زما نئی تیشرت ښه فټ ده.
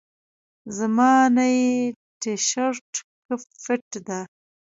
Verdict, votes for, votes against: rejected, 1, 2